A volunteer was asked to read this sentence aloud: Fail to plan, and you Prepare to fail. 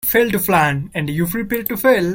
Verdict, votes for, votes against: accepted, 3, 0